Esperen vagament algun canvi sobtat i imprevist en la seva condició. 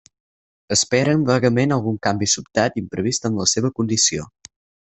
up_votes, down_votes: 4, 0